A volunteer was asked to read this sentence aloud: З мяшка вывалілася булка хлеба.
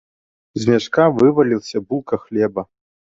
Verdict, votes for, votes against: rejected, 0, 2